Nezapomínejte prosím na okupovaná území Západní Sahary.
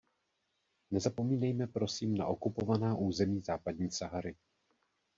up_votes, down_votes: 1, 2